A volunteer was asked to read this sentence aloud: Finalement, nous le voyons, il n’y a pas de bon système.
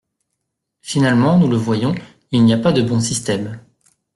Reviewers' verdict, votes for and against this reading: accepted, 2, 0